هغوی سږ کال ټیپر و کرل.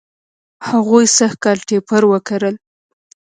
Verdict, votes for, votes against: rejected, 1, 2